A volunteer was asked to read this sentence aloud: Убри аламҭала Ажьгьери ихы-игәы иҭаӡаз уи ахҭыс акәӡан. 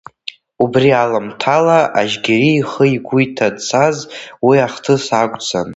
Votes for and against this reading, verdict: 2, 1, accepted